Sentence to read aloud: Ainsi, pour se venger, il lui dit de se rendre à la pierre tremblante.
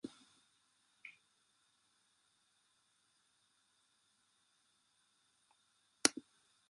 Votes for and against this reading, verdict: 0, 2, rejected